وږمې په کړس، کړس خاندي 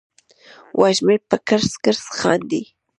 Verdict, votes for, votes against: accepted, 2, 0